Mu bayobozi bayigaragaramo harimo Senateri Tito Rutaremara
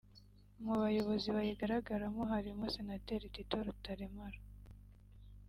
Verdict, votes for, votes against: accepted, 2, 1